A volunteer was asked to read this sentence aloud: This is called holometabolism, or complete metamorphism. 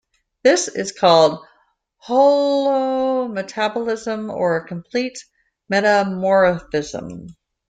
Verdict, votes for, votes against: rejected, 1, 2